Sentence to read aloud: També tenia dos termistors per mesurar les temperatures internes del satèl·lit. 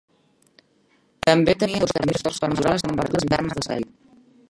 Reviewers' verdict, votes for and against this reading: rejected, 0, 2